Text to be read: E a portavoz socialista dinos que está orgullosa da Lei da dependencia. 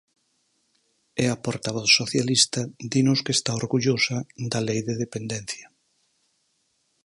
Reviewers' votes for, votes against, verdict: 0, 4, rejected